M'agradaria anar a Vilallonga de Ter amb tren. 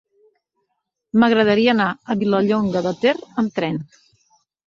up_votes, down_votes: 2, 0